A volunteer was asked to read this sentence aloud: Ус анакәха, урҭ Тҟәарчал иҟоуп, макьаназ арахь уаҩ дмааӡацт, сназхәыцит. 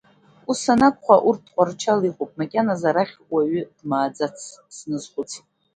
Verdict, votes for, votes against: accepted, 2, 0